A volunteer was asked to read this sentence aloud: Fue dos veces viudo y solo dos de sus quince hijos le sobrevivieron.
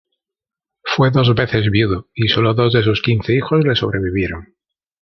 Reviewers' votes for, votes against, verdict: 1, 2, rejected